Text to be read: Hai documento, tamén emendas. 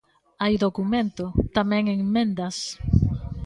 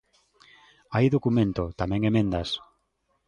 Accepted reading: second